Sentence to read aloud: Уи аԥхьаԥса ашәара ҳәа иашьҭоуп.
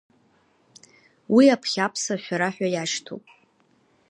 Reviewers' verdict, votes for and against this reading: accepted, 2, 0